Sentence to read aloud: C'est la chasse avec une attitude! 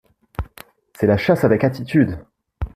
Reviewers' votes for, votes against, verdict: 1, 2, rejected